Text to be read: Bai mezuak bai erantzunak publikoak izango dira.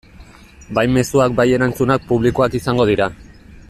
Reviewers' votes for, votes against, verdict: 2, 0, accepted